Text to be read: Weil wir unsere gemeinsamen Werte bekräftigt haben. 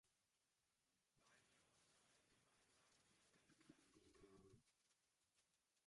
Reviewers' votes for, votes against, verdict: 0, 2, rejected